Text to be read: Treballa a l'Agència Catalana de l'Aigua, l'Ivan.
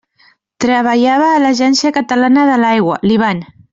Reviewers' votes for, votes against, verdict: 0, 2, rejected